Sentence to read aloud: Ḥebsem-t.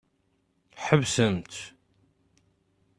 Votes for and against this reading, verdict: 2, 0, accepted